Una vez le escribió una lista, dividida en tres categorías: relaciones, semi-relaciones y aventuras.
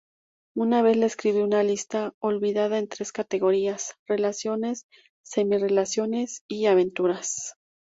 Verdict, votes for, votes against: rejected, 0, 2